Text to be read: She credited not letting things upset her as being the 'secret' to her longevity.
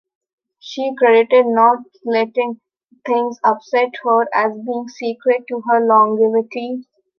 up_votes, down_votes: 1, 3